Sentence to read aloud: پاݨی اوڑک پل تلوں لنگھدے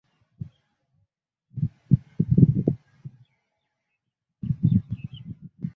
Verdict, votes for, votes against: rejected, 0, 2